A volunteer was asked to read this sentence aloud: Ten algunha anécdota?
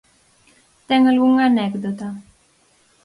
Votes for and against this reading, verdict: 4, 0, accepted